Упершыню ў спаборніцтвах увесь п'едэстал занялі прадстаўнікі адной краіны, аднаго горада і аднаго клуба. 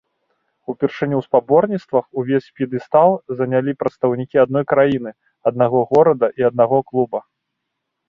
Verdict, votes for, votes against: accepted, 2, 0